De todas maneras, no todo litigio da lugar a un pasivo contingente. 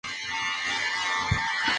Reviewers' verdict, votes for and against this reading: rejected, 0, 2